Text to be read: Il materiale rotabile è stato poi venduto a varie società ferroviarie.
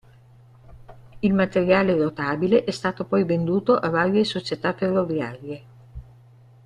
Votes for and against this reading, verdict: 3, 0, accepted